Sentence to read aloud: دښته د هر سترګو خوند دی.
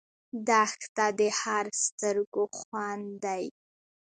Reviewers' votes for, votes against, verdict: 2, 0, accepted